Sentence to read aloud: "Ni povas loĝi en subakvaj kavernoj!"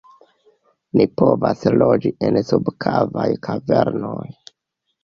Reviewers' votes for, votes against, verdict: 0, 2, rejected